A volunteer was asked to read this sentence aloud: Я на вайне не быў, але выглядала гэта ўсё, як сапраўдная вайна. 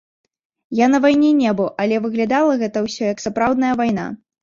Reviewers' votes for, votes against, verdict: 3, 0, accepted